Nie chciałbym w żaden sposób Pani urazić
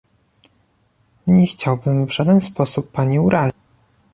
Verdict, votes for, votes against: rejected, 0, 2